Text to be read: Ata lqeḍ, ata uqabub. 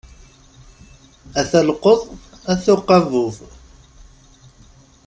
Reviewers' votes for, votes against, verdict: 2, 0, accepted